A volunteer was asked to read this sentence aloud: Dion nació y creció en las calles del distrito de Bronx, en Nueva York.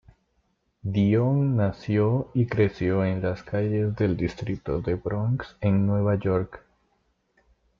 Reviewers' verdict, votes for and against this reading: accepted, 2, 0